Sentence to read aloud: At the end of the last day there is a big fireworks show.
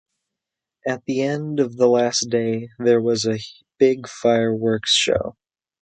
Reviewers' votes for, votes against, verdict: 0, 2, rejected